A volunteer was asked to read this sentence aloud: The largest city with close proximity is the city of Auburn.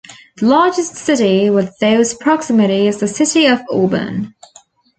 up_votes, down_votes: 0, 2